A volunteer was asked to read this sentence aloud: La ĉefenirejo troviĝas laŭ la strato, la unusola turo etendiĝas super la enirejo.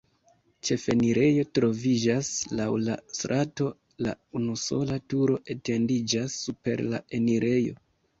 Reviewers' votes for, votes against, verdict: 0, 3, rejected